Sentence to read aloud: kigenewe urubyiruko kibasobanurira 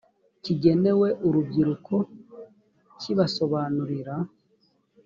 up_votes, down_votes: 2, 0